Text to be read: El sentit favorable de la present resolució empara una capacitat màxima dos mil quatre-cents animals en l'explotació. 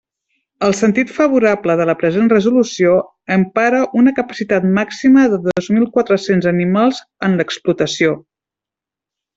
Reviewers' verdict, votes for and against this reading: accepted, 2, 1